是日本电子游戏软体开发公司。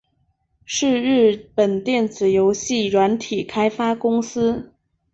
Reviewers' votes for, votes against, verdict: 2, 1, accepted